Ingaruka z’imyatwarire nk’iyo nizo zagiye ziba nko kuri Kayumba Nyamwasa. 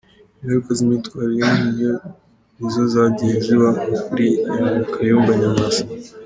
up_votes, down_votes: 2, 1